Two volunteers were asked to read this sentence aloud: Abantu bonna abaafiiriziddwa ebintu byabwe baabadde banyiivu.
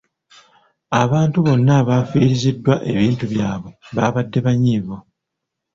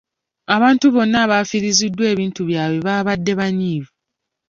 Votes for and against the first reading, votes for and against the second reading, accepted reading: 0, 2, 3, 0, second